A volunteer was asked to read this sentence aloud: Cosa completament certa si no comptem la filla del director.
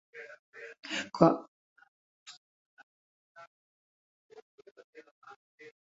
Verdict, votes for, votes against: rejected, 0, 5